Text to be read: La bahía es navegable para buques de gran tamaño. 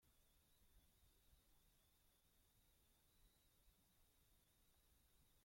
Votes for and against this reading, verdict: 0, 2, rejected